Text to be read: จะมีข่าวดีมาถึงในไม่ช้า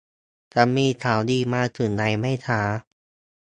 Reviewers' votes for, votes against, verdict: 2, 2, rejected